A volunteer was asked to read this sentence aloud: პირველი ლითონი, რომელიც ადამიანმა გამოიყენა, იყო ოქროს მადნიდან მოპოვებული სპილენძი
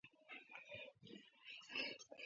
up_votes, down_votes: 0, 2